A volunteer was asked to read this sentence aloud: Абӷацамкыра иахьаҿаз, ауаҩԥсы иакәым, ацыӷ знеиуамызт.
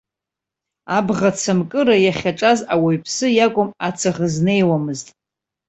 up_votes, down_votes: 2, 0